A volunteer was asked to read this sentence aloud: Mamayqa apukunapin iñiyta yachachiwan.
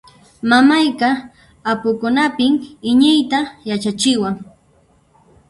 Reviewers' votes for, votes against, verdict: 0, 2, rejected